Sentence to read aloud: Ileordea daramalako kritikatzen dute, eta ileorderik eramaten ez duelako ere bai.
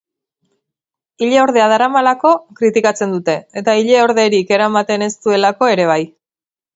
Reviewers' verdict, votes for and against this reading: accepted, 2, 0